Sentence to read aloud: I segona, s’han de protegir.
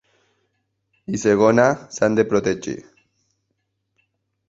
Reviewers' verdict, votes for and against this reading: accepted, 2, 0